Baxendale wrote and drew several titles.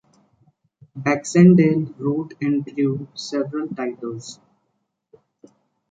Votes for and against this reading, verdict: 2, 1, accepted